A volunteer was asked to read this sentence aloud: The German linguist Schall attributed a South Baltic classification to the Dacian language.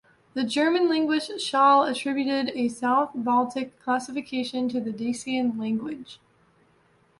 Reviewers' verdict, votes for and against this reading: accepted, 2, 0